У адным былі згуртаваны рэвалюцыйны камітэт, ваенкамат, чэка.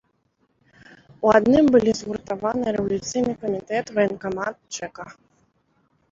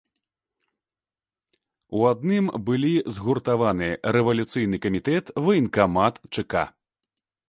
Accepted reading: second